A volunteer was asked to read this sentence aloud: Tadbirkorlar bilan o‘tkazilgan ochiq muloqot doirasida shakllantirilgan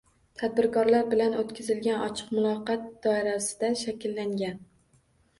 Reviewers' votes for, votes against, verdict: 0, 2, rejected